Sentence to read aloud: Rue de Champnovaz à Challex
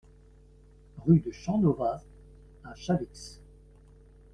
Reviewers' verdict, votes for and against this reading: rejected, 1, 2